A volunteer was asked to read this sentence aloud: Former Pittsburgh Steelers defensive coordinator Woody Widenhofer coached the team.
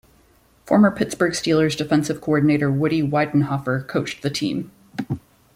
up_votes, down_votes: 2, 0